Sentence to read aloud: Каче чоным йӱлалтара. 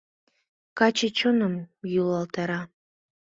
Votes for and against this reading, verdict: 2, 0, accepted